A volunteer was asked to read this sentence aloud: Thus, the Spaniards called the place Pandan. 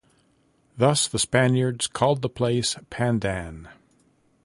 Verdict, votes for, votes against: accepted, 2, 0